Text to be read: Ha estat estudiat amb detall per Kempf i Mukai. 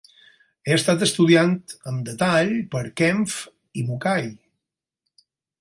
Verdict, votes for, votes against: rejected, 0, 4